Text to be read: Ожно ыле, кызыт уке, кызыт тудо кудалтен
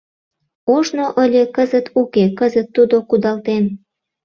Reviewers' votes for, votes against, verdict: 2, 0, accepted